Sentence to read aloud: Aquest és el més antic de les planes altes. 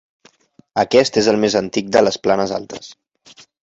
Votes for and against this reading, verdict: 3, 0, accepted